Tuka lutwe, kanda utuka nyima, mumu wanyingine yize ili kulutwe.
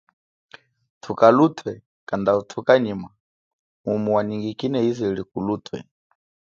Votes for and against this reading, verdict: 2, 0, accepted